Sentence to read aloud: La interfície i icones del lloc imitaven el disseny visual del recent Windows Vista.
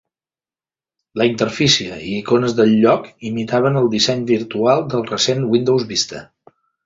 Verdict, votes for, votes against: accepted, 2, 0